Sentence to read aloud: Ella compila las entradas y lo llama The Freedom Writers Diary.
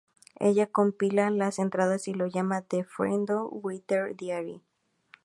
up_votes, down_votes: 2, 0